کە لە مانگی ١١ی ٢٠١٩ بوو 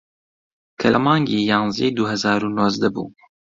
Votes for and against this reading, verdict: 0, 2, rejected